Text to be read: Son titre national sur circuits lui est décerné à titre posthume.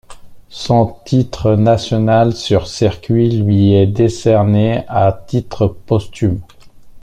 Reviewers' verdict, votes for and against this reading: accepted, 2, 0